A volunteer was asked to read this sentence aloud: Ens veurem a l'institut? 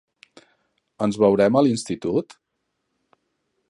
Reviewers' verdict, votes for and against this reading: accepted, 3, 0